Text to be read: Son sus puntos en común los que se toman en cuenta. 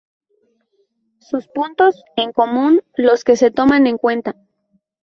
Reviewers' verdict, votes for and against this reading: rejected, 0, 2